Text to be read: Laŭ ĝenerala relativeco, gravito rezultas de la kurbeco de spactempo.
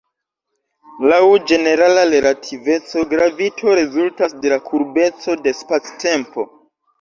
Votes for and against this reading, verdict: 0, 2, rejected